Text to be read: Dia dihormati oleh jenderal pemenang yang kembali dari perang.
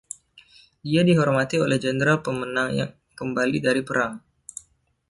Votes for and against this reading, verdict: 0, 2, rejected